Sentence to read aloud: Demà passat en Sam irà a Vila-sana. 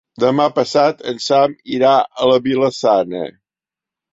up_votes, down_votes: 1, 3